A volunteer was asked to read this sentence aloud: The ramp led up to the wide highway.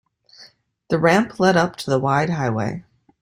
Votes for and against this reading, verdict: 2, 0, accepted